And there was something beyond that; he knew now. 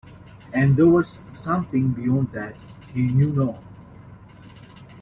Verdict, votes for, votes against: rejected, 1, 2